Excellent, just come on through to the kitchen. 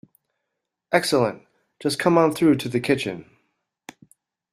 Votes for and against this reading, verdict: 2, 0, accepted